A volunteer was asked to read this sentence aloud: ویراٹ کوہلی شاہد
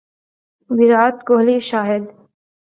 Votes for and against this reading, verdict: 3, 0, accepted